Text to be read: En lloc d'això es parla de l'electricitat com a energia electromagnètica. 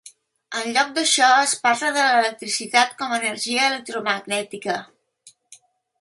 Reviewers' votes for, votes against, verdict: 0, 2, rejected